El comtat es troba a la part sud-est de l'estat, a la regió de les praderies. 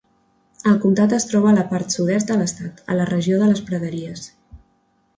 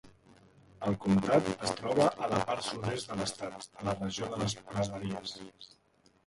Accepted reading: first